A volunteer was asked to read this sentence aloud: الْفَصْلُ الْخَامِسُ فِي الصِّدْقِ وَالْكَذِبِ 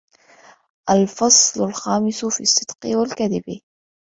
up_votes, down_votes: 2, 1